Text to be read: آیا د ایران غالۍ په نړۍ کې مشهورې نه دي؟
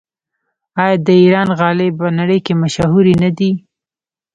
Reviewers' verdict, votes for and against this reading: rejected, 1, 2